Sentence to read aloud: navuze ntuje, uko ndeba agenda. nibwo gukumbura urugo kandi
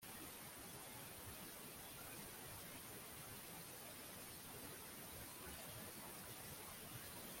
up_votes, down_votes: 1, 2